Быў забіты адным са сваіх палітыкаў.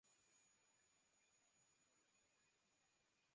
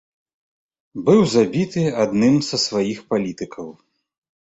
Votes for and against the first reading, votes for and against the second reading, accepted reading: 0, 2, 2, 0, second